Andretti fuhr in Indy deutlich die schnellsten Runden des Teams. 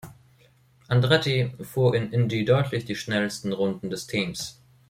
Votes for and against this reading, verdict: 2, 0, accepted